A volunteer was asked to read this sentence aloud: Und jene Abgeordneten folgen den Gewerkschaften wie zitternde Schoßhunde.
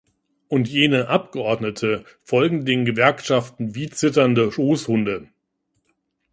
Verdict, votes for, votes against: rejected, 1, 2